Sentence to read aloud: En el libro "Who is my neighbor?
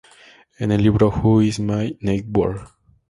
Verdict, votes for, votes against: rejected, 0, 2